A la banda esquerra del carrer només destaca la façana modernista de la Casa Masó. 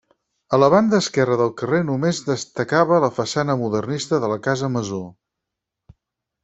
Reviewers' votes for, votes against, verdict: 0, 4, rejected